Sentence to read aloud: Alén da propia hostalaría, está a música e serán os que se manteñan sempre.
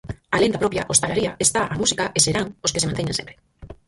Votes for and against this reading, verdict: 2, 4, rejected